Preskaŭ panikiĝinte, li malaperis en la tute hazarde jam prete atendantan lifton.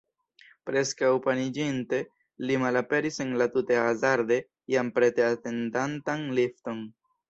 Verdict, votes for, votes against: rejected, 1, 2